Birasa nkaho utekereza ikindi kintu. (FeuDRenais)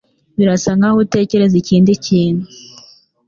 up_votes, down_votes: 1, 2